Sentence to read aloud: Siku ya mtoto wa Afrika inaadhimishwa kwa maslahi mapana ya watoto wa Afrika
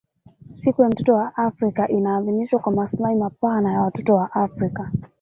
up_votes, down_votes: 0, 2